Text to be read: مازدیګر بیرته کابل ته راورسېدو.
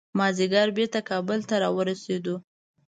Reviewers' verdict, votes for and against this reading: accepted, 2, 0